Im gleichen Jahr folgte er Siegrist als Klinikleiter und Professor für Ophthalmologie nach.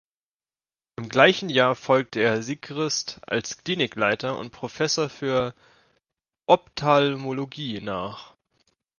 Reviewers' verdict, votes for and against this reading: rejected, 1, 2